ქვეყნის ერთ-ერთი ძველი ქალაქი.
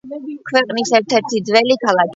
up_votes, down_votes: 2, 1